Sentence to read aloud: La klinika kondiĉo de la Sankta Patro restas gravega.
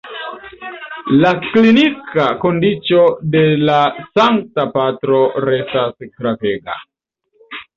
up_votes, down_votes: 0, 2